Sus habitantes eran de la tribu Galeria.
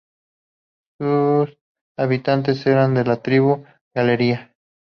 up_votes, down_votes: 2, 2